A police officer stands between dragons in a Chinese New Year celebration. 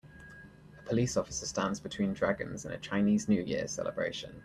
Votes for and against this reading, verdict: 3, 0, accepted